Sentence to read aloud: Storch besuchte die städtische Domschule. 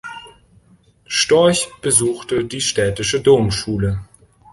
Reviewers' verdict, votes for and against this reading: accepted, 2, 0